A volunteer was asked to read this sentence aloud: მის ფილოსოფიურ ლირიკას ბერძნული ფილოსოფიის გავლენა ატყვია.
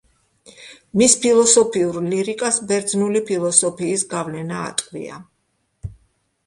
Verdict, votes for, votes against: accepted, 2, 0